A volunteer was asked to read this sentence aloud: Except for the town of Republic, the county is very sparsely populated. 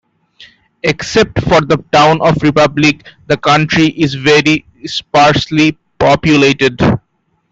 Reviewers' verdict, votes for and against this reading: rejected, 1, 2